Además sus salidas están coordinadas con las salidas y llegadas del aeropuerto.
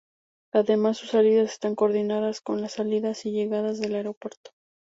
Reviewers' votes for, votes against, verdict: 2, 0, accepted